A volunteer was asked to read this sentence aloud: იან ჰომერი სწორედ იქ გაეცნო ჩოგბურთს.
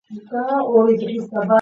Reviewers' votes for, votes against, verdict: 0, 2, rejected